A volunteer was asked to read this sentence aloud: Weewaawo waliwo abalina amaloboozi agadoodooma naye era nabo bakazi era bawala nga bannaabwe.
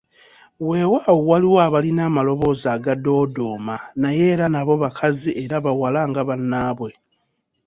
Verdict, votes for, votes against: accepted, 2, 0